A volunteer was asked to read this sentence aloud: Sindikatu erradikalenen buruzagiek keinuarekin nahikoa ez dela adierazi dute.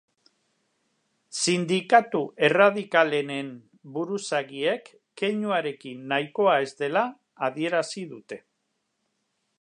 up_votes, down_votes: 2, 0